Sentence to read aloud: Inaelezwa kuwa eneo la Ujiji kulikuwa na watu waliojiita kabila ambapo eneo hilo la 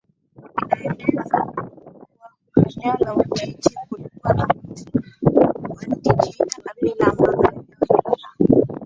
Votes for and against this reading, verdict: 0, 2, rejected